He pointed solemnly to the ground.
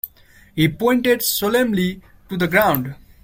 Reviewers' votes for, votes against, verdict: 2, 0, accepted